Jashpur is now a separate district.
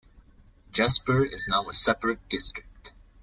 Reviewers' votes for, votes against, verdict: 2, 1, accepted